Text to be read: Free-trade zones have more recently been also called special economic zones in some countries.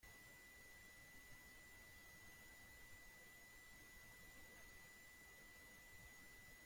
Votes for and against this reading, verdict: 0, 2, rejected